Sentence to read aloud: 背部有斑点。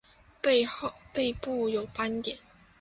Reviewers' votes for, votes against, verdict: 6, 2, accepted